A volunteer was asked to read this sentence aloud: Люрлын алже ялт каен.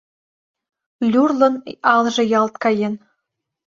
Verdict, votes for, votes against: accepted, 2, 0